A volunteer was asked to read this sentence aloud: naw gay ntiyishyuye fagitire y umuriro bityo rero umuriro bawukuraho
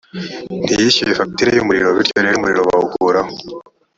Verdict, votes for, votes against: rejected, 1, 2